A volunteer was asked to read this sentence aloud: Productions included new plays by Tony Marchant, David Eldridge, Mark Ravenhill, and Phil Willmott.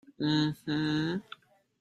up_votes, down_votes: 0, 2